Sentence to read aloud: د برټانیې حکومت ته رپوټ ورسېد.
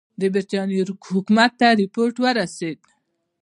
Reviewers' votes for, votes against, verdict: 1, 2, rejected